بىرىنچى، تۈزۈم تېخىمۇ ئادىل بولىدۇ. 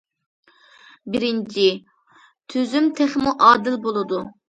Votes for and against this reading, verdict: 2, 0, accepted